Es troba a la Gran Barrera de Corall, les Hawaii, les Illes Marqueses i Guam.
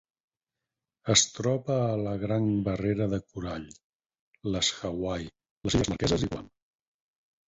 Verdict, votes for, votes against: rejected, 2, 4